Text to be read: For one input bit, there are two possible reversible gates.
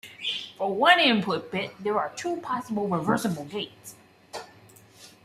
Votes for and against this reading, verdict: 2, 1, accepted